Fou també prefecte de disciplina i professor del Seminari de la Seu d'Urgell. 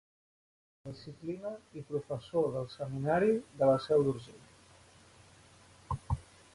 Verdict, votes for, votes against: rejected, 0, 2